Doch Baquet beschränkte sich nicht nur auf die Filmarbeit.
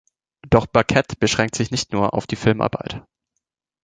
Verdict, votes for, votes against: rejected, 1, 2